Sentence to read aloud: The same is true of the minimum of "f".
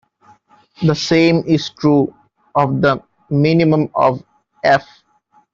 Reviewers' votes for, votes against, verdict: 2, 1, accepted